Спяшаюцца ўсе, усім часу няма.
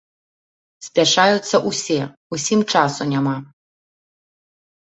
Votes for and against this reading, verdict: 2, 0, accepted